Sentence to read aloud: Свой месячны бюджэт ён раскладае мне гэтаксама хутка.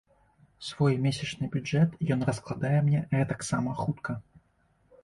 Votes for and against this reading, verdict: 2, 0, accepted